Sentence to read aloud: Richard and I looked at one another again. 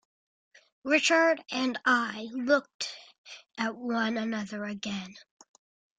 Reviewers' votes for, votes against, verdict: 2, 0, accepted